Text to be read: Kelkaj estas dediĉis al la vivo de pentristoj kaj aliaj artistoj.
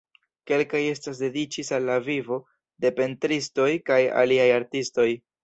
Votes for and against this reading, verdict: 2, 0, accepted